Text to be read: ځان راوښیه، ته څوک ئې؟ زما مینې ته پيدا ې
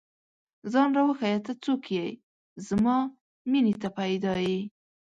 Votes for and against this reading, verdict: 6, 1, accepted